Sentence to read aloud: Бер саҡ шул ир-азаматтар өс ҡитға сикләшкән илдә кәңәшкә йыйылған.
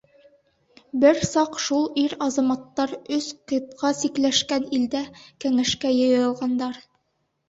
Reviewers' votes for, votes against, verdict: 0, 2, rejected